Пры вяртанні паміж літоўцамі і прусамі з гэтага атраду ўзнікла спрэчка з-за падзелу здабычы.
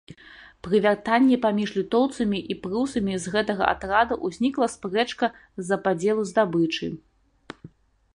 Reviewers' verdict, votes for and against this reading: accepted, 2, 0